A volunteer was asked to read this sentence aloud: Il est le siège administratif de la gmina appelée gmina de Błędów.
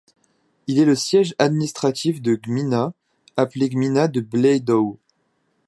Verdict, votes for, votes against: rejected, 1, 2